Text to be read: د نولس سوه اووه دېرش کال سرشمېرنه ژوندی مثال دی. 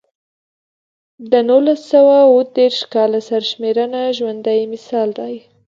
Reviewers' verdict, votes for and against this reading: accepted, 2, 0